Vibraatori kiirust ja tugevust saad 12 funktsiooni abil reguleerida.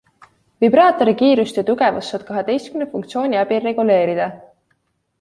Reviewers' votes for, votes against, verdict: 0, 2, rejected